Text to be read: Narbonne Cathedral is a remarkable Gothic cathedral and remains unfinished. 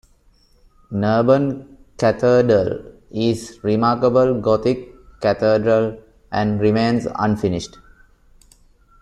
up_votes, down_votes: 0, 2